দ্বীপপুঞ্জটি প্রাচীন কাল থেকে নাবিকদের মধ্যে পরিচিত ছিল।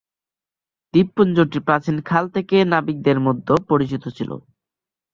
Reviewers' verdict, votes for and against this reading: accepted, 4, 1